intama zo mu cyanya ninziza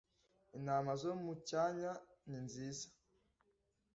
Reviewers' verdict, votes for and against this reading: accepted, 2, 0